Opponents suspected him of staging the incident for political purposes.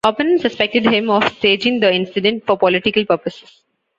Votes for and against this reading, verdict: 1, 2, rejected